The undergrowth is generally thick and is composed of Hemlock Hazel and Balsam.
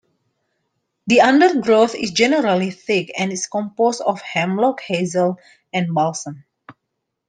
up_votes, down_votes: 2, 0